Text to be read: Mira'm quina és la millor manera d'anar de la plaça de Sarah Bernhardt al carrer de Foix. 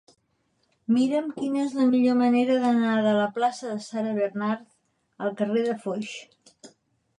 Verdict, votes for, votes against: rejected, 1, 2